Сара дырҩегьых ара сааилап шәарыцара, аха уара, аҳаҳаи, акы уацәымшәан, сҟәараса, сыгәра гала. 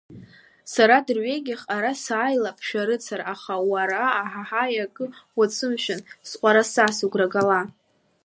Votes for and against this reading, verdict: 2, 0, accepted